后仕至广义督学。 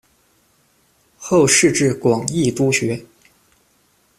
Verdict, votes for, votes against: accepted, 2, 0